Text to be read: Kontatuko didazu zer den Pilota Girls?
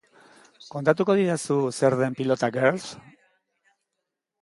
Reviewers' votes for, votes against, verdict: 1, 2, rejected